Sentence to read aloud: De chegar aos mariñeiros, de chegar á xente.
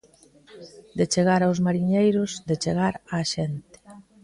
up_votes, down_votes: 2, 0